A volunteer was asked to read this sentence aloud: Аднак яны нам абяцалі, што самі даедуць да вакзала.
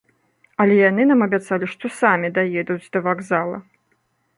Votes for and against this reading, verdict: 0, 2, rejected